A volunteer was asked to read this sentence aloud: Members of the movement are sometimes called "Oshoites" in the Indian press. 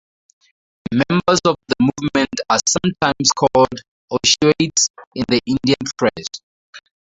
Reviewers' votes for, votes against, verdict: 0, 4, rejected